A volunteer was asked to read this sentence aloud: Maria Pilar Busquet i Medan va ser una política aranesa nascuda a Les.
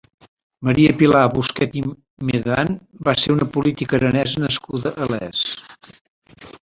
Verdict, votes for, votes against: rejected, 1, 2